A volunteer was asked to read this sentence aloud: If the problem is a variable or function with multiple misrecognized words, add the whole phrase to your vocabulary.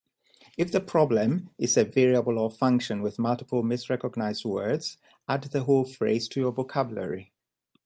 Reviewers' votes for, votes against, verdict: 2, 0, accepted